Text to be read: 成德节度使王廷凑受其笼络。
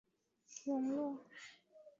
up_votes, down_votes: 2, 3